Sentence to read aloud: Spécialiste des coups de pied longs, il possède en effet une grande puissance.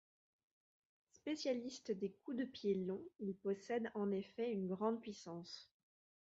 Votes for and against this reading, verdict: 2, 0, accepted